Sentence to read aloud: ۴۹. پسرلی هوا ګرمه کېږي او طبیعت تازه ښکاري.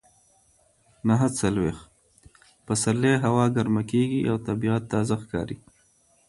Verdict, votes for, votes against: rejected, 0, 2